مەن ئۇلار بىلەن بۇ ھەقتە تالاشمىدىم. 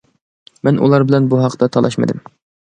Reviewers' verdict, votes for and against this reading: accepted, 2, 0